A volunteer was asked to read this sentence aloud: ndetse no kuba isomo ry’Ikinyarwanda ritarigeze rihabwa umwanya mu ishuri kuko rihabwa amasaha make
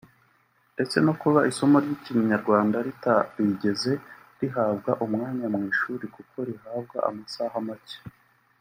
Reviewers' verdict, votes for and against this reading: rejected, 0, 2